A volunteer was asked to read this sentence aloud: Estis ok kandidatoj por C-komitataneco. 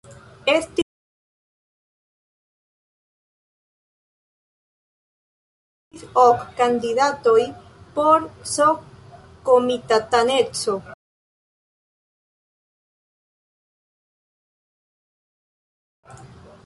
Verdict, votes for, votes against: rejected, 0, 2